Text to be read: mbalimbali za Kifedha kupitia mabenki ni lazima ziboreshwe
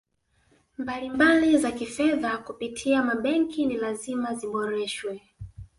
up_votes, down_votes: 2, 0